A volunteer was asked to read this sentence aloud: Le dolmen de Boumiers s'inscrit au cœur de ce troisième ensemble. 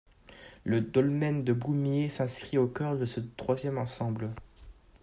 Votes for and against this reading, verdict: 1, 2, rejected